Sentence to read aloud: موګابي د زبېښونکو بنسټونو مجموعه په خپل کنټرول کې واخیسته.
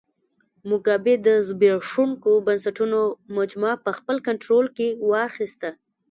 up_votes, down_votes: 0, 2